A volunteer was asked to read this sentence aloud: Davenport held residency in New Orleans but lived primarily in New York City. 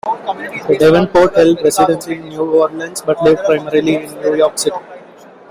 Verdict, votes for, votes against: rejected, 1, 2